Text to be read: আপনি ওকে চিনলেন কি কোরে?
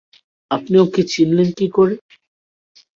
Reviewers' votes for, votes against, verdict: 2, 0, accepted